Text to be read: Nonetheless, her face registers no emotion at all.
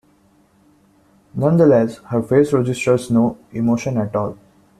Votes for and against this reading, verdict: 2, 1, accepted